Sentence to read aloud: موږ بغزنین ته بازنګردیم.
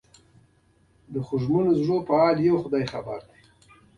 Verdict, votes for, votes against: rejected, 0, 2